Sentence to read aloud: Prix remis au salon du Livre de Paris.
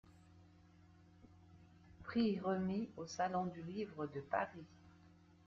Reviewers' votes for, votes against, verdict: 2, 0, accepted